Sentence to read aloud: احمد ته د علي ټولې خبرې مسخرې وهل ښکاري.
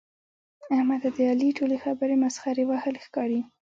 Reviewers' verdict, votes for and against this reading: accepted, 2, 0